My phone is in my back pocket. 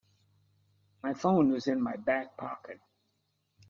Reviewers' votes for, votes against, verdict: 3, 0, accepted